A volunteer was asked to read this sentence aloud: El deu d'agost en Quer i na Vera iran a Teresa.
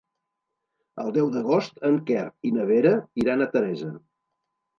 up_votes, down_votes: 2, 0